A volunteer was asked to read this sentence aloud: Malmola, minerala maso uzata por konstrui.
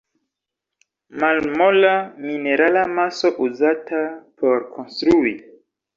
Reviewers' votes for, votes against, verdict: 2, 1, accepted